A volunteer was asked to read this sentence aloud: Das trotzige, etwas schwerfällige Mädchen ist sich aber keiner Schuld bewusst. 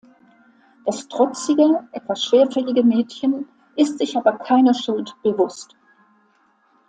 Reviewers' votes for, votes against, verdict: 3, 0, accepted